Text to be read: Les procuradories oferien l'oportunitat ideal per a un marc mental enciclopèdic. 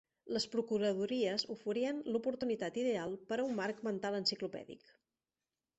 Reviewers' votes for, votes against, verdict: 1, 2, rejected